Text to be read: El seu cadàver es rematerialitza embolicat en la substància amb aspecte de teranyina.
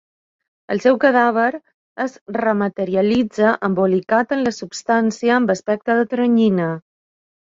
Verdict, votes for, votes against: accepted, 2, 0